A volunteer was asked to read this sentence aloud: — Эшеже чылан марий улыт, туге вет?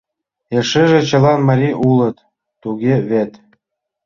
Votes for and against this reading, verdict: 2, 0, accepted